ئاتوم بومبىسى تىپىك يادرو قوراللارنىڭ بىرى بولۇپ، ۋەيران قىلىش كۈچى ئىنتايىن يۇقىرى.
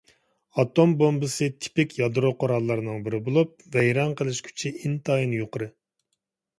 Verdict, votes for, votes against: accepted, 2, 0